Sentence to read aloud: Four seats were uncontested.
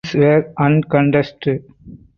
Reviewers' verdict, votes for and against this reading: rejected, 0, 4